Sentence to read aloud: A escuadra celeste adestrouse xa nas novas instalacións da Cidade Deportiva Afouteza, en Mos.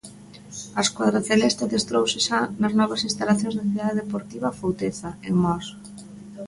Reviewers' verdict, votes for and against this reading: accepted, 2, 0